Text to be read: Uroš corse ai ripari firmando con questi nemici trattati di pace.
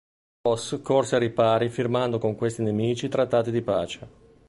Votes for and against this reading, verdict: 0, 2, rejected